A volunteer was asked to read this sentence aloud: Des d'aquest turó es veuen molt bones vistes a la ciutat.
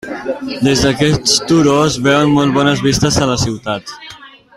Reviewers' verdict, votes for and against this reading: rejected, 1, 2